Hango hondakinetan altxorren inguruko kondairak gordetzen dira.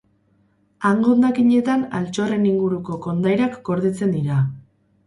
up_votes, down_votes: 2, 2